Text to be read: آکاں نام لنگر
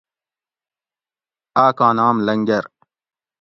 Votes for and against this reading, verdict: 2, 0, accepted